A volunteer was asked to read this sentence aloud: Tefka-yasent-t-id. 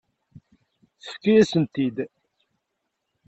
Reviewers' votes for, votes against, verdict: 2, 1, accepted